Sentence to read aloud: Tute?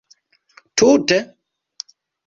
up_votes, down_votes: 1, 2